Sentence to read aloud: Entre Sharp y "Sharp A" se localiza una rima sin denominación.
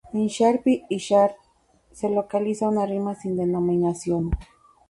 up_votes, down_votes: 2, 0